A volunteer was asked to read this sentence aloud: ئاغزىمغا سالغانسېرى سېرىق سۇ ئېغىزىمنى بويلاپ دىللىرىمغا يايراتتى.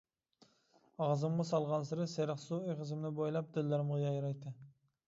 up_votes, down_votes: 2, 1